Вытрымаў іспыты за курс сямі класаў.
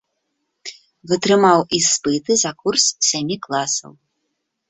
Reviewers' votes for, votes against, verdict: 0, 2, rejected